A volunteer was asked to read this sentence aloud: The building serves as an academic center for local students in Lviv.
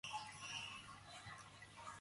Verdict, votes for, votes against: rejected, 0, 4